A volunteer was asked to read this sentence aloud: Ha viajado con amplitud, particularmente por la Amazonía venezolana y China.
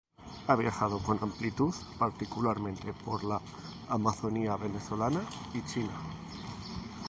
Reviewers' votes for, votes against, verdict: 2, 0, accepted